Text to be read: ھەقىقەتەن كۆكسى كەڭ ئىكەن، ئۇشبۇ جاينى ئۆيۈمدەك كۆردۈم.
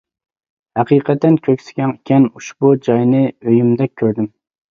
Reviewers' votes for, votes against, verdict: 2, 0, accepted